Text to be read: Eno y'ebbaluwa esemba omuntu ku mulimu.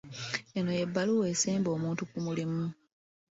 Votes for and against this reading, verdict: 2, 0, accepted